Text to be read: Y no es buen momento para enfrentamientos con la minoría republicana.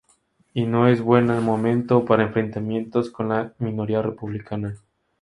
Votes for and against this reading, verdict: 4, 0, accepted